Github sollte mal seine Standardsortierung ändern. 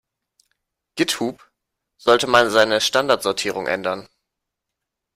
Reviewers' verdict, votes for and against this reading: rejected, 1, 2